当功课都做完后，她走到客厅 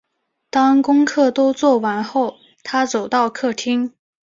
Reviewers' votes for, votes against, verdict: 7, 0, accepted